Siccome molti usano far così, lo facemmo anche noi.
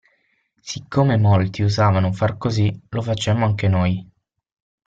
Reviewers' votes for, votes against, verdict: 0, 6, rejected